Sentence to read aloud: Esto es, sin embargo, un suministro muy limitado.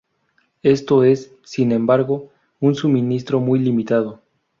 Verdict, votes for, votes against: rejected, 0, 2